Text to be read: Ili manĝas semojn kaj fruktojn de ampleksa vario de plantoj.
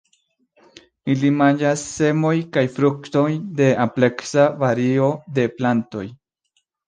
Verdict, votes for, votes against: rejected, 1, 2